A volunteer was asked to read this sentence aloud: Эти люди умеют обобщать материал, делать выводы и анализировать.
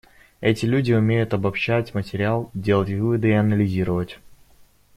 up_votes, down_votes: 2, 1